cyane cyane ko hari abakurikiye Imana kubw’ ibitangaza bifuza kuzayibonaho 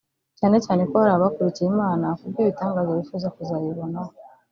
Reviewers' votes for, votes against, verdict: 0, 2, rejected